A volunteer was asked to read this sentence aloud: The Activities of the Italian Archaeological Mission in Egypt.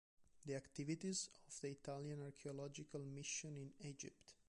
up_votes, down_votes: 2, 0